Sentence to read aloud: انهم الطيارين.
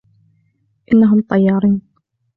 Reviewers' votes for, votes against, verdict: 2, 0, accepted